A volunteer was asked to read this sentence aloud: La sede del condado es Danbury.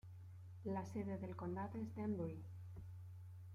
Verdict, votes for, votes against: rejected, 1, 2